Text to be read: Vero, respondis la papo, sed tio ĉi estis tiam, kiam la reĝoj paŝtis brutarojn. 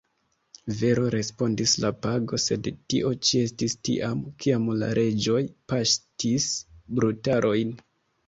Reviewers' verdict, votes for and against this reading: rejected, 1, 2